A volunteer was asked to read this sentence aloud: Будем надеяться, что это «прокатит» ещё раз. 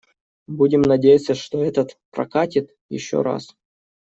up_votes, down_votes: 0, 2